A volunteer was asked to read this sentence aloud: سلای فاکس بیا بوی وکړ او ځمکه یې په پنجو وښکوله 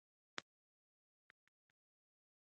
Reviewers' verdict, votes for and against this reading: rejected, 1, 2